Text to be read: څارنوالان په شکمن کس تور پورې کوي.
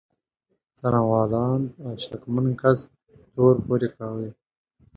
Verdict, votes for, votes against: accepted, 2, 1